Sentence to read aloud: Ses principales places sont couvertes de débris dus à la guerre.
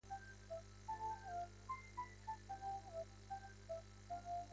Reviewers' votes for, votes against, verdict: 0, 2, rejected